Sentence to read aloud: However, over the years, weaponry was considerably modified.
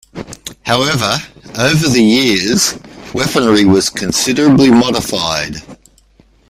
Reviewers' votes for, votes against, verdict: 2, 0, accepted